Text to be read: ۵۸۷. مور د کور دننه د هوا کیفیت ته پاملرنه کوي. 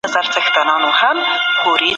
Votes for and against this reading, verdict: 0, 2, rejected